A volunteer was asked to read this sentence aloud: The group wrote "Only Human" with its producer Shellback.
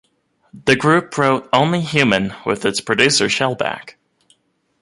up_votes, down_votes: 2, 0